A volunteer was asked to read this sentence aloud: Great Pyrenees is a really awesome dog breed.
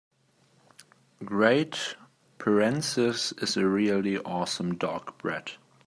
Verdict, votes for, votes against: rejected, 1, 2